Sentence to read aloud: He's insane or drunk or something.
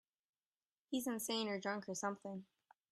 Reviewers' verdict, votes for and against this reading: accepted, 3, 0